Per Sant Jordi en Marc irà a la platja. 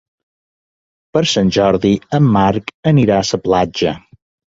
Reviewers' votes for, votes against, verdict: 0, 2, rejected